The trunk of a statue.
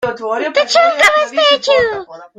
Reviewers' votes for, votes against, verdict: 0, 2, rejected